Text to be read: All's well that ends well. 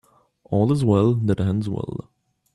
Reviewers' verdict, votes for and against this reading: accepted, 2, 1